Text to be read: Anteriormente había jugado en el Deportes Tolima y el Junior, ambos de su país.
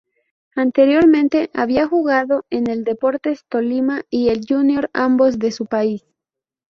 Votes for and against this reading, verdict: 2, 0, accepted